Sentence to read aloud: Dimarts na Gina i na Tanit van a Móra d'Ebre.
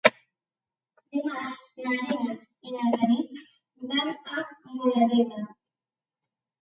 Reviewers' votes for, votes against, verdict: 1, 2, rejected